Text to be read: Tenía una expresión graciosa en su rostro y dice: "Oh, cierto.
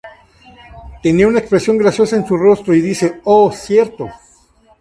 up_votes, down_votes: 2, 0